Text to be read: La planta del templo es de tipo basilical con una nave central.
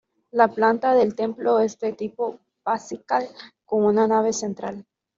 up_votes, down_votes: 0, 2